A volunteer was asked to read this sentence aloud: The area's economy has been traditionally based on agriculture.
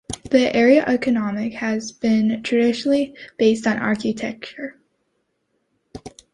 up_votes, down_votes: 0, 2